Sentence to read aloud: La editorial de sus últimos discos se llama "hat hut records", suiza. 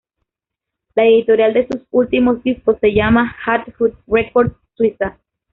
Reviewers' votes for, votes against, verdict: 1, 2, rejected